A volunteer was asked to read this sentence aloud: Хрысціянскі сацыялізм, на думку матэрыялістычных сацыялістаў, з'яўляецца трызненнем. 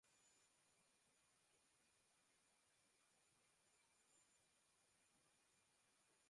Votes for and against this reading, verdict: 0, 2, rejected